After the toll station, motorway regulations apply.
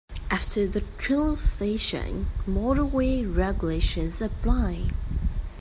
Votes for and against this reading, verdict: 2, 0, accepted